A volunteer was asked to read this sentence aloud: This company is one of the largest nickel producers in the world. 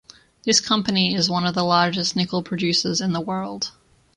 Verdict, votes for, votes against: accepted, 2, 0